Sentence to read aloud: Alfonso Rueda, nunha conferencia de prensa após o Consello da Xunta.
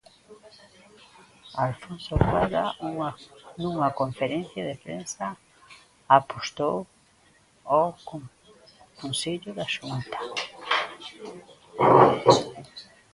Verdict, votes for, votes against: rejected, 0, 2